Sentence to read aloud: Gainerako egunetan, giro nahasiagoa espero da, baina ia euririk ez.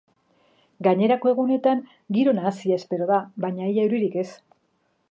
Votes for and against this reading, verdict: 0, 2, rejected